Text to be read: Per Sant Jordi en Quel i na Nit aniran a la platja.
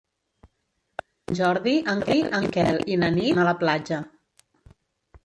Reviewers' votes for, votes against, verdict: 1, 2, rejected